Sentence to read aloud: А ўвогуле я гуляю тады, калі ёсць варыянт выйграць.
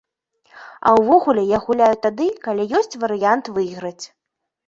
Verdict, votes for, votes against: accepted, 2, 0